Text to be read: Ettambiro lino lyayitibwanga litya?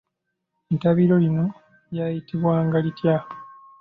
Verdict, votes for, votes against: accepted, 3, 0